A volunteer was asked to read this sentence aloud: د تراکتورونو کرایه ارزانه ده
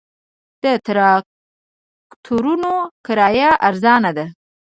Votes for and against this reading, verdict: 1, 2, rejected